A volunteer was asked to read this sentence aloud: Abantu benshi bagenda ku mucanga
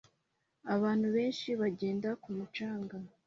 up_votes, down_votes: 2, 0